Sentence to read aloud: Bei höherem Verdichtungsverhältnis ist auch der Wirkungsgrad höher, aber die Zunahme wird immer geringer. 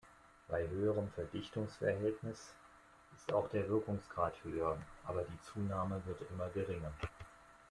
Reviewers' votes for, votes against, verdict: 2, 1, accepted